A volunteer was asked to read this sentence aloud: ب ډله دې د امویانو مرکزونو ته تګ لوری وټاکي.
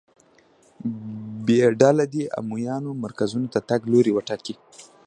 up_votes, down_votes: 0, 2